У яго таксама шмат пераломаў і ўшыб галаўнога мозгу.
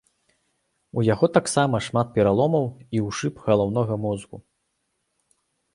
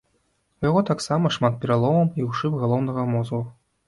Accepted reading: first